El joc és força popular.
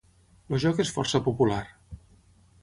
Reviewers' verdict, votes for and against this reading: rejected, 3, 3